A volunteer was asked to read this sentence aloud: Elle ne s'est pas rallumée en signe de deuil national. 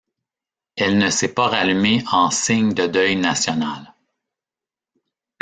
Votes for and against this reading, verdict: 2, 0, accepted